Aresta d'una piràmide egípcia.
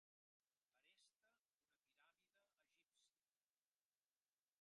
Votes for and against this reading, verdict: 0, 2, rejected